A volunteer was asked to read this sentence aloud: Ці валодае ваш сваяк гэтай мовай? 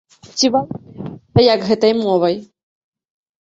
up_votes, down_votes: 0, 2